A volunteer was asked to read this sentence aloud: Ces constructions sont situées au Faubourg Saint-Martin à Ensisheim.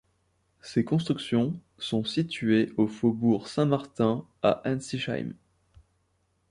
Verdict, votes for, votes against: accepted, 2, 0